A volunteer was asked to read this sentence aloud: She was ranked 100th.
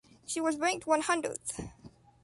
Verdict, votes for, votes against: rejected, 0, 2